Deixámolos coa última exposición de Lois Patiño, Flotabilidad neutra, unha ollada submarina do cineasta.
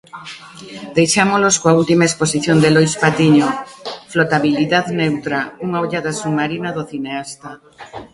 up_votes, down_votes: 2, 0